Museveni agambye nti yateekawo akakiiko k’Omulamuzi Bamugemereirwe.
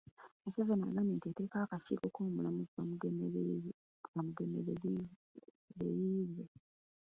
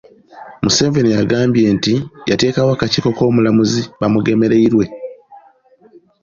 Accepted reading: second